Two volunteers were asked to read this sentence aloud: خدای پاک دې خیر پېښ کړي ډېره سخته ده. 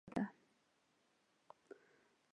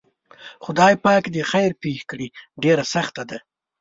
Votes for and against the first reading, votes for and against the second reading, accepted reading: 1, 2, 2, 0, second